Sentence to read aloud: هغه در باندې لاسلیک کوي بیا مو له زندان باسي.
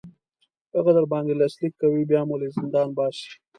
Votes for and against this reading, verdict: 2, 0, accepted